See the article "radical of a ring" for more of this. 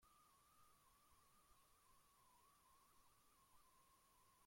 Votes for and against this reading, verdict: 0, 2, rejected